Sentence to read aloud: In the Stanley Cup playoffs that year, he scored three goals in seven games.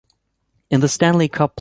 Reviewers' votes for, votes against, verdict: 0, 2, rejected